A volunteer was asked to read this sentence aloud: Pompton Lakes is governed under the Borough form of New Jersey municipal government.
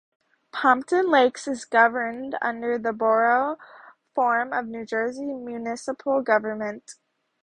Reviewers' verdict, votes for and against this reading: accepted, 2, 0